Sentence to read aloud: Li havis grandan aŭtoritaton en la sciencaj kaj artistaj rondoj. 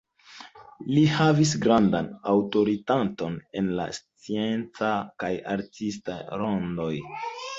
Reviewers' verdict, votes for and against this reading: accepted, 2, 0